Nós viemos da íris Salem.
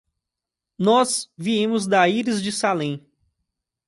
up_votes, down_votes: 0, 2